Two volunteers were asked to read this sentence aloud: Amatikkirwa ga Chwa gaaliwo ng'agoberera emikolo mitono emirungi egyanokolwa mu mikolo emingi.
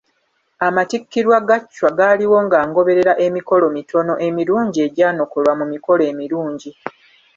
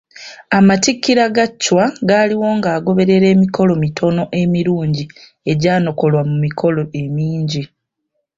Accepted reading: second